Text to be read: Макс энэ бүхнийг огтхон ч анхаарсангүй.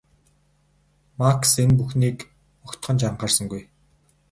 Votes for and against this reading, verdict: 2, 2, rejected